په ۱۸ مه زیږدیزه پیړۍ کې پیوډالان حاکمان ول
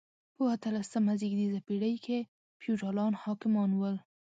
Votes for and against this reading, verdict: 0, 2, rejected